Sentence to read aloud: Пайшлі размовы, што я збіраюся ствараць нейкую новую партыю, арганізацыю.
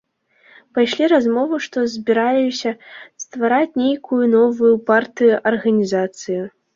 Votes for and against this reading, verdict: 1, 2, rejected